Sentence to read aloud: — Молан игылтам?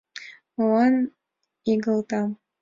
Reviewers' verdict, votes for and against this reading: accepted, 2, 0